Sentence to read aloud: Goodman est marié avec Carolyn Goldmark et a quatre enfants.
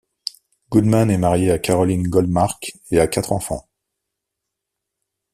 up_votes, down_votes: 1, 2